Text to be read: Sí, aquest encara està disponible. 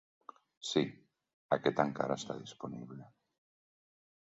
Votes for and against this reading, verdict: 1, 2, rejected